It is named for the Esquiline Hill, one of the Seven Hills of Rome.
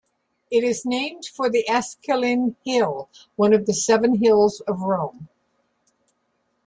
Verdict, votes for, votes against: accepted, 2, 0